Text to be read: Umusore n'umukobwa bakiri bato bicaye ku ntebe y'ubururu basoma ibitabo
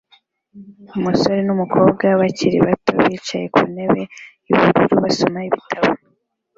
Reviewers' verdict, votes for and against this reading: rejected, 0, 2